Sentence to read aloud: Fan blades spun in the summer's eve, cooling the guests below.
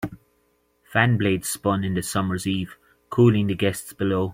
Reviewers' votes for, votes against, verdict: 3, 0, accepted